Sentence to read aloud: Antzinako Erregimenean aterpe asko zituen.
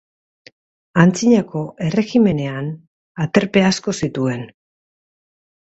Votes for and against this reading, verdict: 2, 0, accepted